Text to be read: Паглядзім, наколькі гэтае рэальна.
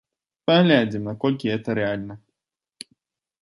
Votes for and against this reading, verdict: 0, 2, rejected